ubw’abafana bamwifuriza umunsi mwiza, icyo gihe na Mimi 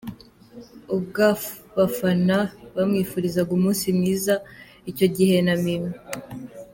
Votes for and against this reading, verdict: 1, 2, rejected